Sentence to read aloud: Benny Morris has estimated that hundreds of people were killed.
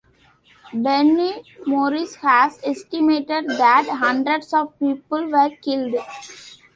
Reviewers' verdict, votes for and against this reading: rejected, 0, 2